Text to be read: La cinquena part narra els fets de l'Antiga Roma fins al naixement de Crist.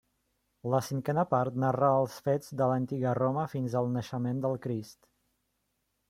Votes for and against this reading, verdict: 1, 3, rejected